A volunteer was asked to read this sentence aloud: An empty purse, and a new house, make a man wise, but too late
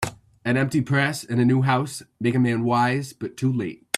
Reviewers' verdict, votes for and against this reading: rejected, 1, 2